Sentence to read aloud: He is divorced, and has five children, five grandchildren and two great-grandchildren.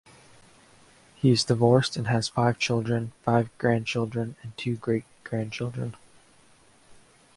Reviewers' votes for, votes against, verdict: 0, 2, rejected